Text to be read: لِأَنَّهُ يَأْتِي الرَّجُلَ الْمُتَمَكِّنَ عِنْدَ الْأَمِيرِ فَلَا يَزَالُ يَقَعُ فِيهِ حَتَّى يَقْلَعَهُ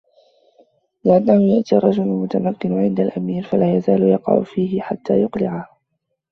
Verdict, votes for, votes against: accepted, 2, 1